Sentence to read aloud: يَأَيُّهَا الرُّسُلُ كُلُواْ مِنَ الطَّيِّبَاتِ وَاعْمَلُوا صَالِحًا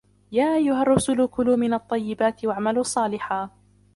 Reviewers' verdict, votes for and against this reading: rejected, 0, 2